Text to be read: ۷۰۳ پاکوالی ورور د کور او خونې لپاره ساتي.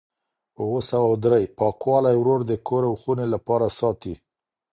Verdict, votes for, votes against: rejected, 0, 2